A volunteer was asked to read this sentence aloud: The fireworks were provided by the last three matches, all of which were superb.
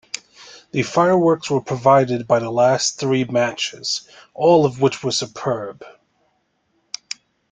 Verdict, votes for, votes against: accepted, 2, 1